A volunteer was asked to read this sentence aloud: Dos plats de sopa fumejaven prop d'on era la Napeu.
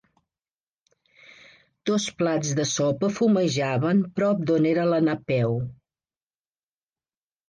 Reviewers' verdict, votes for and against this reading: accepted, 2, 0